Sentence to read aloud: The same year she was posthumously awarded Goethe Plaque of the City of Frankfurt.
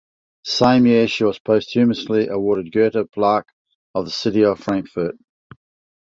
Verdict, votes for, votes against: rejected, 1, 2